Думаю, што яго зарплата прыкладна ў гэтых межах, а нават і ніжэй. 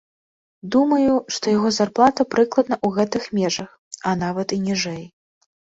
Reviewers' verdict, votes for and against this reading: accepted, 2, 0